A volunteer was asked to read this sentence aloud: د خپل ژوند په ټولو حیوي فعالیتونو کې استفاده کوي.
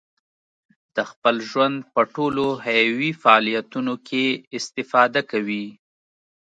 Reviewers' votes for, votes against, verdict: 3, 0, accepted